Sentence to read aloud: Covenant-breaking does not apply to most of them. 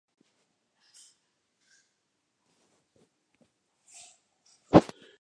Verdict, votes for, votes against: rejected, 0, 2